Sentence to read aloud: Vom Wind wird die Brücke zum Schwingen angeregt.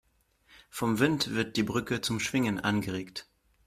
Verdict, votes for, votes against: accepted, 2, 0